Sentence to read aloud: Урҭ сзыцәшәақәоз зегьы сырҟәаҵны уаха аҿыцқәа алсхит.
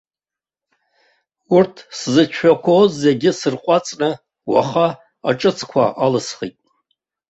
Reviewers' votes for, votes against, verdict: 2, 0, accepted